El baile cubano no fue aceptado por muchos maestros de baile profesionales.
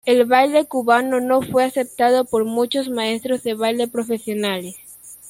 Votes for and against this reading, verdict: 2, 1, accepted